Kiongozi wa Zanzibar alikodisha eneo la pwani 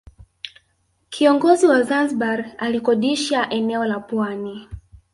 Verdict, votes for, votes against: rejected, 1, 2